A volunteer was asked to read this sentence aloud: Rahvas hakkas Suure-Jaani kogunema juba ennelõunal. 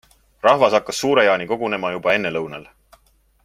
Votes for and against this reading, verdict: 2, 0, accepted